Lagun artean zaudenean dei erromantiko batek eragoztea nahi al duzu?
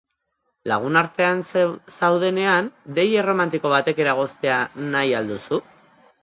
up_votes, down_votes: 1, 3